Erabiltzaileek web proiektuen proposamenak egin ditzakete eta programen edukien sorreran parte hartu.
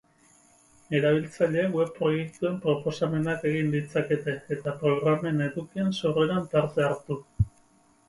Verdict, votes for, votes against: rejected, 2, 4